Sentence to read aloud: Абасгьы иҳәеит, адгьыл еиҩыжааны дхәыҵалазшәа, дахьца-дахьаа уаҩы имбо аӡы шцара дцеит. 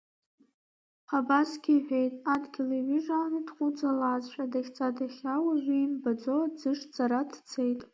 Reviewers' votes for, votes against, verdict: 2, 1, accepted